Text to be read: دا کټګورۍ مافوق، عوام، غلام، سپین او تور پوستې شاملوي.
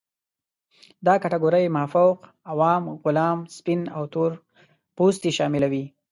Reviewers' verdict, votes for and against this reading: accepted, 2, 0